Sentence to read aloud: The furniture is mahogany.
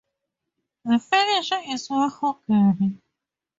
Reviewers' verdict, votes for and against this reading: rejected, 0, 4